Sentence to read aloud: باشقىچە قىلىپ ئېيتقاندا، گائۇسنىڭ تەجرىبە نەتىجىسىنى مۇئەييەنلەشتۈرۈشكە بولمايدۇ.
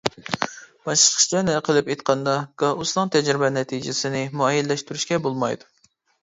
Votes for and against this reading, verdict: 0, 2, rejected